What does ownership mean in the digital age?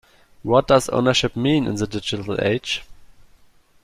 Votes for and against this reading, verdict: 2, 0, accepted